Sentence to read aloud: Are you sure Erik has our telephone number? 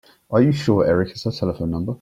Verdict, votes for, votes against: accepted, 2, 0